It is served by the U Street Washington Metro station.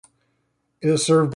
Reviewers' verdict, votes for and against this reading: rejected, 0, 2